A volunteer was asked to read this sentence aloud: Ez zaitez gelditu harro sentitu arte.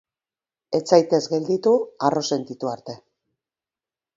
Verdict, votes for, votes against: accepted, 2, 0